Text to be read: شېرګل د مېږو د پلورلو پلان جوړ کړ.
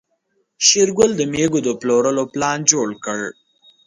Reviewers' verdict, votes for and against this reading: accepted, 2, 0